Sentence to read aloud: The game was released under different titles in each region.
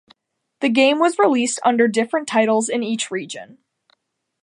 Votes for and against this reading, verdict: 2, 0, accepted